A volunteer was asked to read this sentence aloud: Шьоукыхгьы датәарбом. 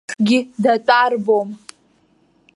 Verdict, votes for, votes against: rejected, 0, 2